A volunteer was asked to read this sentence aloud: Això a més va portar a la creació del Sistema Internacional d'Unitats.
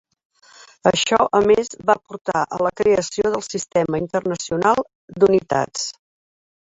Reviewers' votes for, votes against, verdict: 3, 1, accepted